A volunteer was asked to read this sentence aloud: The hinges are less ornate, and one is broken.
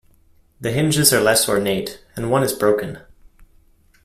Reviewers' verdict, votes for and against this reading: accepted, 2, 0